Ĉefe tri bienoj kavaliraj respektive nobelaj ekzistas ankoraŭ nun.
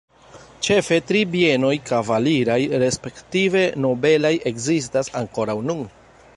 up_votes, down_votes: 2, 0